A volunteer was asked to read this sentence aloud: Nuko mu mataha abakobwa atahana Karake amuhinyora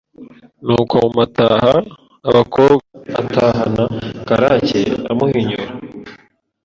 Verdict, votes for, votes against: rejected, 1, 2